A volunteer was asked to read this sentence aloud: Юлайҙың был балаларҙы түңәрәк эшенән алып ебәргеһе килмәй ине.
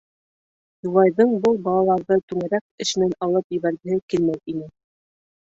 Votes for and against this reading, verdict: 1, 2, rejected